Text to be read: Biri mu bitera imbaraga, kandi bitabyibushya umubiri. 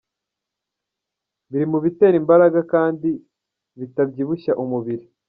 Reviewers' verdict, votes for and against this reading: rejected, 0, 2